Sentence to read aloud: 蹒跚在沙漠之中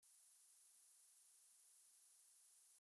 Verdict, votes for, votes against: rejected, 0, 2